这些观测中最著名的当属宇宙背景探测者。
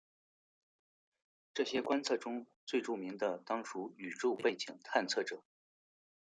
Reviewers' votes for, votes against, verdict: 0, 2, rejected